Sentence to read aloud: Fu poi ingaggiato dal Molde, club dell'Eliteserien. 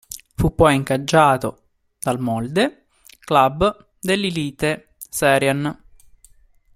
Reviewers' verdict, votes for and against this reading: rejected, 0, 2